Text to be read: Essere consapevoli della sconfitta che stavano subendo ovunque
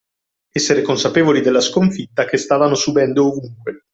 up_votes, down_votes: 2, 0